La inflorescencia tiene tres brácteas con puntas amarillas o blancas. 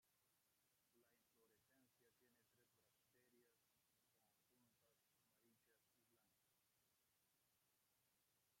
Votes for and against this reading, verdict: 0, 2, rejected